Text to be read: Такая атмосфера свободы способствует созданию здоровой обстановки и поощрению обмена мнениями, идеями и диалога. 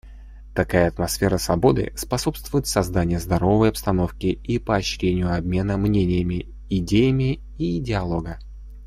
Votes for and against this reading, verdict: 2, 0, accepted